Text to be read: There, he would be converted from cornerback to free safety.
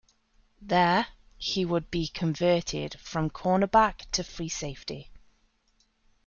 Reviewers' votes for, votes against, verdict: 2, 0, accepted